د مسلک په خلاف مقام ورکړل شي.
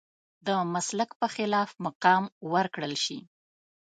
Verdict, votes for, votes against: accepted, 2, 0